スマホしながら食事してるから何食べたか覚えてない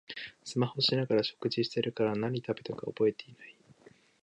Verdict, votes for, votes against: rejected, 1, 3